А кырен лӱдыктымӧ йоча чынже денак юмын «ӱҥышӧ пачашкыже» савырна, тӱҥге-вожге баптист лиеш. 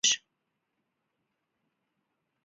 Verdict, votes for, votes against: rejected, 0, 2